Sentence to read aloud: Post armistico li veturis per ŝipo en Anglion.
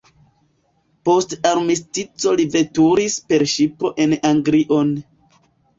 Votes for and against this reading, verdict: 2, 0, accepted